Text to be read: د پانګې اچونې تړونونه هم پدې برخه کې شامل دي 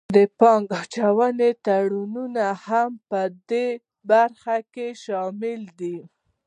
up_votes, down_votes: 2, 0